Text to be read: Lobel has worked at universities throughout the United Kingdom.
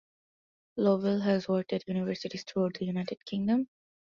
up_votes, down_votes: 2, 1